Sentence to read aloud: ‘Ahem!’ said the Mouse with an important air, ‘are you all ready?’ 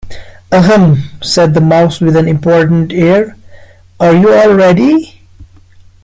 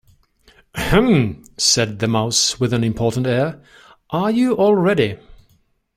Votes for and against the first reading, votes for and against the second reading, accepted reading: 1, 2, 2, 0, second